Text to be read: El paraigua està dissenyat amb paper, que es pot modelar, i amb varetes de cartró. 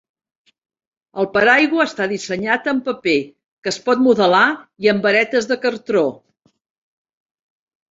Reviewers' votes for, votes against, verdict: 2, 0, accepted